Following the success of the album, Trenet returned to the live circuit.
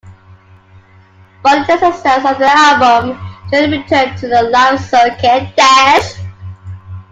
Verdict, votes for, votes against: rejected, 0, 2